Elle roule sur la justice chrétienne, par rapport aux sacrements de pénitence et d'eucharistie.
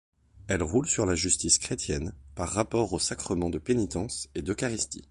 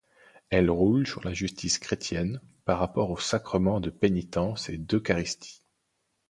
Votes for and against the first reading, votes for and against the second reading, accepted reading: 2, 0, 1, 2, first